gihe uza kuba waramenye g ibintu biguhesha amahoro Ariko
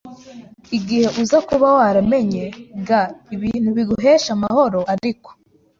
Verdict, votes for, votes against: accepted, 2, 0